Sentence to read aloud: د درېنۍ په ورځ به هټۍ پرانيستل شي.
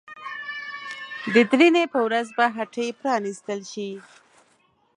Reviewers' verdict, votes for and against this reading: rejected, 0, 2